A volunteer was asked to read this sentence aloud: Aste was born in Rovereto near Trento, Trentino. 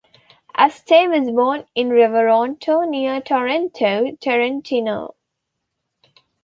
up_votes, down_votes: 0, 2